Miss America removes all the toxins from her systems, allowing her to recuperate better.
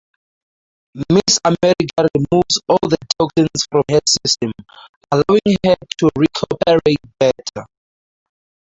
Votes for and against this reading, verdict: 0, 4, rejected